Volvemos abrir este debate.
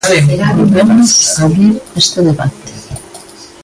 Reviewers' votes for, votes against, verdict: 0, 2, rejected